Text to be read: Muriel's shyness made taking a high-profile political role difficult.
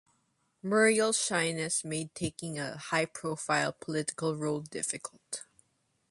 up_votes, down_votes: 2, 0